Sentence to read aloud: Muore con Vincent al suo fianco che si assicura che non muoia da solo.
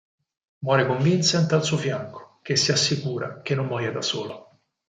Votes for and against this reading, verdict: 6, 0, accepted